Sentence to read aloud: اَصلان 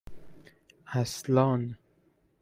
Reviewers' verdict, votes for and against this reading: accepted, 2, 0